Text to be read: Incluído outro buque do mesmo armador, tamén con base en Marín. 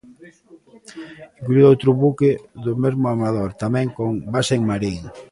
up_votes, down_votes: 1, 2